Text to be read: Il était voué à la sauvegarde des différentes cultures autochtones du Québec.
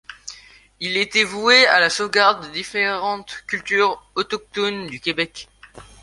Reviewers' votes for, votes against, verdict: 2, 1, accepted